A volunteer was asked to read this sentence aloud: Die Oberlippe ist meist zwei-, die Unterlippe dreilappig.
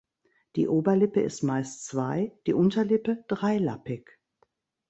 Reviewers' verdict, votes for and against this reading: accepted, 2, 0